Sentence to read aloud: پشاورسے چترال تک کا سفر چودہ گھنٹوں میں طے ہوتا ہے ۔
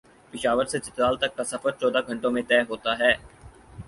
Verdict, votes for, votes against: accepted, 4, 0